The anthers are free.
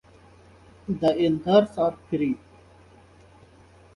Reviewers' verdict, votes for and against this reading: accepted, 2, 0